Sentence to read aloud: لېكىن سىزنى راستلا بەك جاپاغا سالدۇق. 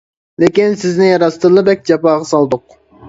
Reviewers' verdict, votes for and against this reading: rejected, 0, 2